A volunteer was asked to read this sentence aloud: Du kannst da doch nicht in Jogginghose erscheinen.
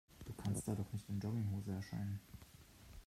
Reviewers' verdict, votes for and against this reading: rejected, 1, 2